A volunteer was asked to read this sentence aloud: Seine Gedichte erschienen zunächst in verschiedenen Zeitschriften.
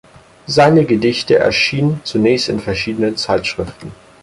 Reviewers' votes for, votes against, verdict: 4, 0, accepted